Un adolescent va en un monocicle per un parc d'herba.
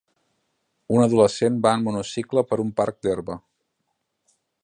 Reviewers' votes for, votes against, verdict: 2, 0, accepted